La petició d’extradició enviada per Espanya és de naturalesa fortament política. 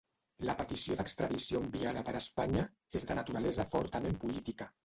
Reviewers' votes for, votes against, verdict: 0, 2, rejected